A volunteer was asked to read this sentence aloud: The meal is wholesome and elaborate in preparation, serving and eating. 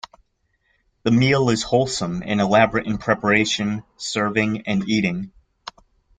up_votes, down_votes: 2, 0